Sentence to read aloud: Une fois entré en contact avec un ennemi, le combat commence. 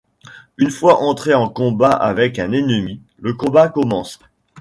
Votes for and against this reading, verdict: 1, 2, rejected